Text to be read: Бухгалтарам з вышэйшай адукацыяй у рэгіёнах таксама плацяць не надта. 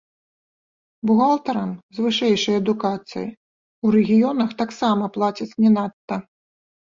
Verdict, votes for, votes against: rejected, 2, 3